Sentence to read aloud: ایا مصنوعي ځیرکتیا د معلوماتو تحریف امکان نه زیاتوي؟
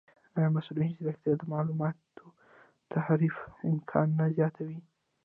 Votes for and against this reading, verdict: 1, 2, rejected